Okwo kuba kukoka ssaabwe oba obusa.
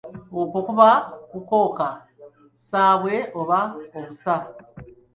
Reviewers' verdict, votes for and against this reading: accepted, 2, 1